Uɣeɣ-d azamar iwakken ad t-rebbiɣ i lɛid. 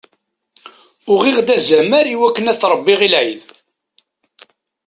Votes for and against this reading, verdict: 2, 0, accepted